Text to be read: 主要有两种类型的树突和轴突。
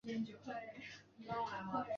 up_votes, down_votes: 1, 3